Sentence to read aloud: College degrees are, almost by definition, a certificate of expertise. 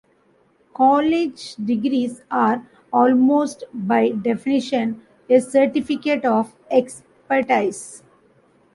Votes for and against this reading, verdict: 0, 2, rejected